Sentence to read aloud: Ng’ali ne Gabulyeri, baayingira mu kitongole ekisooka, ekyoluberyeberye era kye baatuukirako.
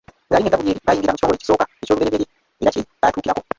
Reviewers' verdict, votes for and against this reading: rejected, 0, 2